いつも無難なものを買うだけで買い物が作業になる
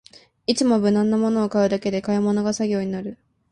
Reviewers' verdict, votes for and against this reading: accepted, 2, 0